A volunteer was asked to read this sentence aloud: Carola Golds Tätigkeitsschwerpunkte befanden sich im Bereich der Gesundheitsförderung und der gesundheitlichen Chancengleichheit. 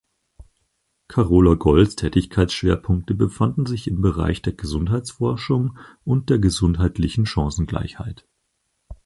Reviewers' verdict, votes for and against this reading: rejected, 0, 4